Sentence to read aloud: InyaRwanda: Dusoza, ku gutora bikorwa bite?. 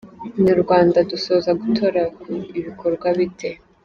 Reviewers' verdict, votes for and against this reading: accepted, 2, 1